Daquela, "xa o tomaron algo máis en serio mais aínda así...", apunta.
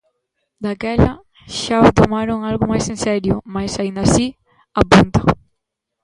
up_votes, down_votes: 1, 2